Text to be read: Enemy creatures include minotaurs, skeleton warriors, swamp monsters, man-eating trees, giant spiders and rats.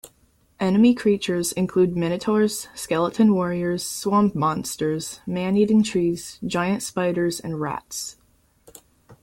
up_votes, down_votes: 2, 0